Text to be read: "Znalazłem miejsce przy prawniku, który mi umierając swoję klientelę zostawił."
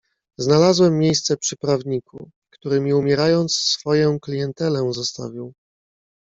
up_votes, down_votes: 2, 1